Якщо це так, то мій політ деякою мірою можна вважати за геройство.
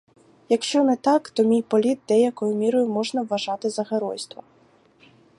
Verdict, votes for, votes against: rejected, 0, 2